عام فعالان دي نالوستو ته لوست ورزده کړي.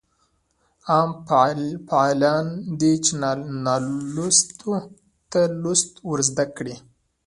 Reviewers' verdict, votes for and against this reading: rejected, 0, 2